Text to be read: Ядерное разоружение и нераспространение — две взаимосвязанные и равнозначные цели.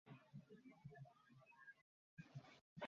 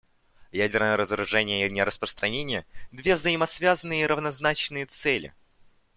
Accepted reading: second